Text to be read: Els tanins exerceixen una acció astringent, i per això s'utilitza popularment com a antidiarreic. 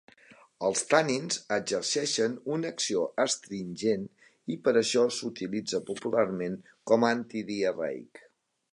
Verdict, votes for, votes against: rejected, 1, 2